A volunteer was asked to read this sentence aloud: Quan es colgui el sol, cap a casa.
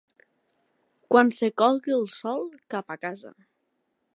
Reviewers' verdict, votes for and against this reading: rejected, 1, 2